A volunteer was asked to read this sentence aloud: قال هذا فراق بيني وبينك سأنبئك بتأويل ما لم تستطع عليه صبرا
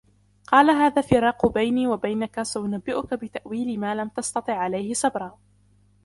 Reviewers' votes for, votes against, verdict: 2, 1, accepted